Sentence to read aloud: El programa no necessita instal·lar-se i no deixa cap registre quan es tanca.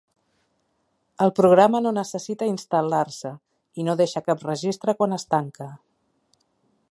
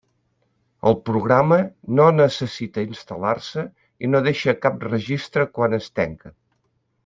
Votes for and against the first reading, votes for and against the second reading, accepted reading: 4, 0, 0, 2, first